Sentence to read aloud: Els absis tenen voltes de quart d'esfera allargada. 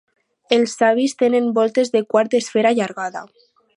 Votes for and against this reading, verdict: 2, 4, rejected